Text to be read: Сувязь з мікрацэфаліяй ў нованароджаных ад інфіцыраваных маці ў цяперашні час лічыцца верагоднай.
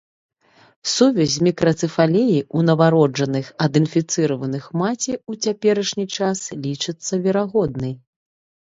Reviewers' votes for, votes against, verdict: 3, 1, accepted